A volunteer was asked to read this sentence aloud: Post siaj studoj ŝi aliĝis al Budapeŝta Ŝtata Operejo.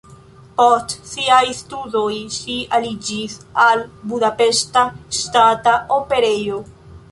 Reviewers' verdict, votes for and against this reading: accepted, 2, 0